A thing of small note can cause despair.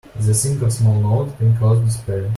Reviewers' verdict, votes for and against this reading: accepted, 2, 0